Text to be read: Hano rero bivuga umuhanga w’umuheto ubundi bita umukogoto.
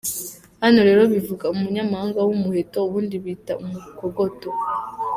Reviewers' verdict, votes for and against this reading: rejected, 0, 2